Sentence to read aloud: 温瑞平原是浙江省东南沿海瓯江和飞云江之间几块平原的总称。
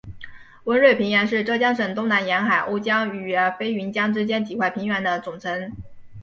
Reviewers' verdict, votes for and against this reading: accepted, 2, 0